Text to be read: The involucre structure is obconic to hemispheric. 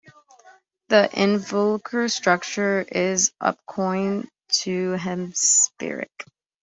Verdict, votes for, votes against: rejected, 0, 2